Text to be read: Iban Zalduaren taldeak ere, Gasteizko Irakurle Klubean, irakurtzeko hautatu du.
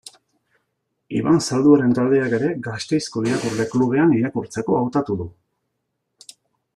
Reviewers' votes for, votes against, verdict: 2, 0, accepted